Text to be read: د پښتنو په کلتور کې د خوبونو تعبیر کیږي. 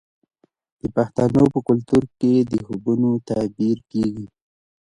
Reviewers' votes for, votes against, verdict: 0, 2, rejected